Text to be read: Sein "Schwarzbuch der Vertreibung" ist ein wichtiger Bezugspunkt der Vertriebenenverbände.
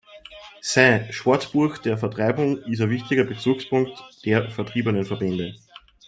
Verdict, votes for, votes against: rejected, 1, 2